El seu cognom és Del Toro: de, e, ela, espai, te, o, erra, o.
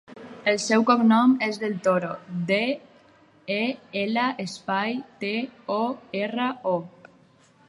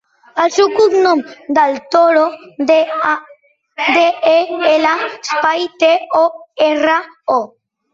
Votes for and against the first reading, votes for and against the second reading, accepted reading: 4, 0, 0, 2, first